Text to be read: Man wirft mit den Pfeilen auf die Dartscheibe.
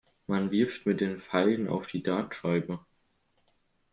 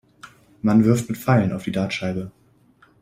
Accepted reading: first